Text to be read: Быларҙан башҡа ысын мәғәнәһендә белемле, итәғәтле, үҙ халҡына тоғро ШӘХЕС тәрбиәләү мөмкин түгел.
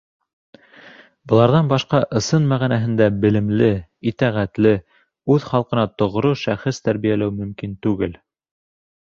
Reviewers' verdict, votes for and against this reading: accepted, 3, 0